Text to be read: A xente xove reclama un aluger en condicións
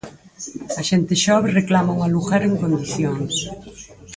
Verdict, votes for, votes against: rejected, 2, 4